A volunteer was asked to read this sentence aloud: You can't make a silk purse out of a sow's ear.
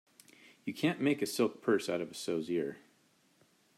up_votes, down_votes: 2, 0